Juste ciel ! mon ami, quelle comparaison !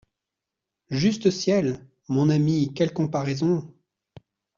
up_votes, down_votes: 2, 0